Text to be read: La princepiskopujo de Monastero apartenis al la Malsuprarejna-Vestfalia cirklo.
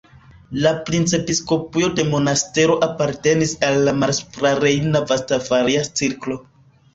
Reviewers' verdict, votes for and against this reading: rejected, 1, 2